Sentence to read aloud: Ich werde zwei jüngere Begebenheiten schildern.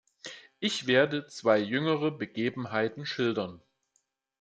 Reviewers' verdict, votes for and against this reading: accepted, 2, 0